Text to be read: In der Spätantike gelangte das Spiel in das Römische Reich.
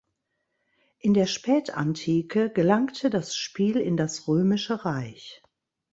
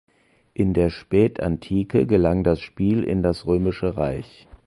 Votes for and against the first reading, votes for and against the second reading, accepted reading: 2, 0, 0, 2, first